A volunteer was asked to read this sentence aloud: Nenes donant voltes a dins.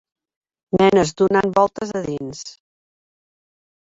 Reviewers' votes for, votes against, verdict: 3, 0, accepted